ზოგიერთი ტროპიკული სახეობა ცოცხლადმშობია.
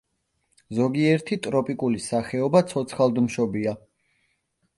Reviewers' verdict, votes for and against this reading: accepted, 2, 0